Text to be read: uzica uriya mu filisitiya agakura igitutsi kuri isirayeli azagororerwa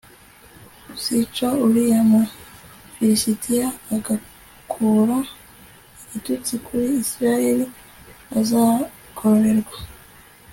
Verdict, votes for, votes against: accepted, 2, 0